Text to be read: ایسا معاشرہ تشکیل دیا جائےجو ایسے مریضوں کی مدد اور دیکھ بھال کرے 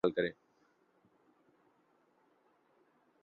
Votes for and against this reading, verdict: 0, 3, rejected